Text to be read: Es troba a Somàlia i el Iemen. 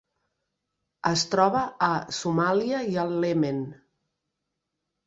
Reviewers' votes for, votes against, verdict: 0, 2, rejected